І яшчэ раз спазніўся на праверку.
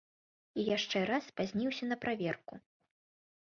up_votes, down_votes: 3, 0